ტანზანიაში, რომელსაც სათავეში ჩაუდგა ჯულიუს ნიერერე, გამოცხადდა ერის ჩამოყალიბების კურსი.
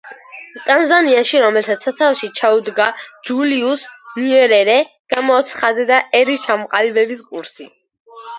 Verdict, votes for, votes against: accepted, 2, 1